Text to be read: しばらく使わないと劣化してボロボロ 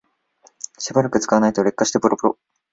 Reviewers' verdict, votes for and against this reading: accepted, 2, 0